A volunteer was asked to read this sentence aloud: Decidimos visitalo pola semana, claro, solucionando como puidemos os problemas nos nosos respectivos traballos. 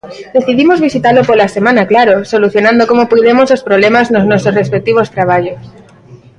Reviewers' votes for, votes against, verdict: 0, 2, rejected